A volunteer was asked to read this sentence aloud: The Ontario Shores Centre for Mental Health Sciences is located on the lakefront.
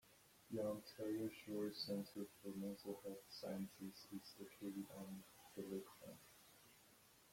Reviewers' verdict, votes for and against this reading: rejected, 1, 2